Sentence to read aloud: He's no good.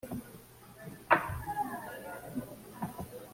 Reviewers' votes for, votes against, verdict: 1, 2, rejected